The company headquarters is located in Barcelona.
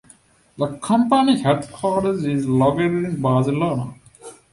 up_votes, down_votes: 0, 2